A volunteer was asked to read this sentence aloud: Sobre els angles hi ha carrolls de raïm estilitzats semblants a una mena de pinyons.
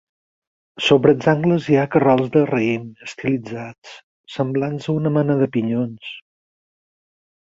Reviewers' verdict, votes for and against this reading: accepted, 6, 0